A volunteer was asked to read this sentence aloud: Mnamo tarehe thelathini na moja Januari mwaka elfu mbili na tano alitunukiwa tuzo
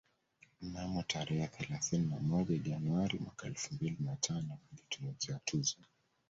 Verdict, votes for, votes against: accepted, 2, 1